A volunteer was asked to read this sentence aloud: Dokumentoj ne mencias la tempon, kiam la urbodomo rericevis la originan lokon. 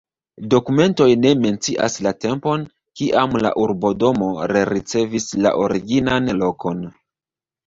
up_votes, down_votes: 0, 2